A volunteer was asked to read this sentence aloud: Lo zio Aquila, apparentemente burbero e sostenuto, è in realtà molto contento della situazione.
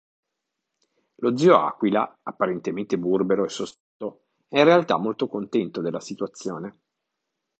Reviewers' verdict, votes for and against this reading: rejected, 0, 2